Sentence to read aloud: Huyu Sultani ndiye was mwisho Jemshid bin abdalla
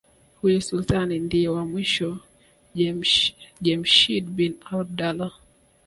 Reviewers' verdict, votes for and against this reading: accepted, 2, 0